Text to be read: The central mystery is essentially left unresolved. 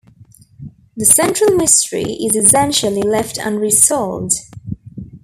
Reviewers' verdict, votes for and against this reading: rejected, 1, 2